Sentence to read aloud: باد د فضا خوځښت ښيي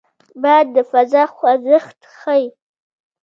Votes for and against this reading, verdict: 1, 2, rejected